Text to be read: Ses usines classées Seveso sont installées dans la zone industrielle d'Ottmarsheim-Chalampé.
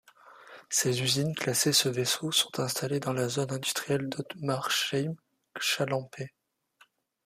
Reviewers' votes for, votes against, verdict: 2, 0, accepted